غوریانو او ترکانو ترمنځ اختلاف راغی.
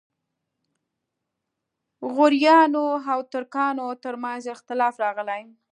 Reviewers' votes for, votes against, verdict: 0, 2, rejected